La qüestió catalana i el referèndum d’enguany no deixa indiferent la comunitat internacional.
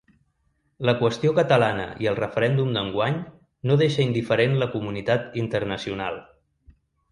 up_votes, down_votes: 2, 0